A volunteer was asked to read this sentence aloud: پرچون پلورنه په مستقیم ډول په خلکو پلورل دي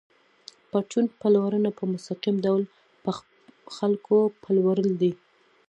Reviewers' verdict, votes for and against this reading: accepted, 2, 0